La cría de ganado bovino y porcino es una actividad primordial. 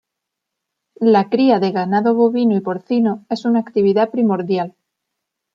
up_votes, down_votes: 2, 0